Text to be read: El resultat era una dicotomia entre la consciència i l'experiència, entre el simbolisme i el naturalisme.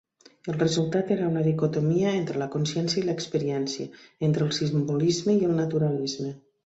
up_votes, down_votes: 2, 0